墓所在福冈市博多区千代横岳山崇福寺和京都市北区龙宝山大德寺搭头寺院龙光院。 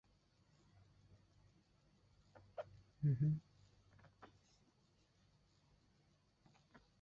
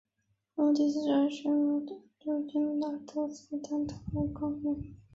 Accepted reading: second